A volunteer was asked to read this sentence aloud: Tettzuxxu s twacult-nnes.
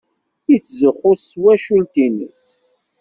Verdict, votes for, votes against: rejected, 1, 2